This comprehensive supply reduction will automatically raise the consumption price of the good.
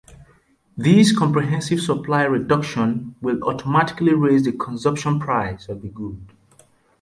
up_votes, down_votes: 2, 0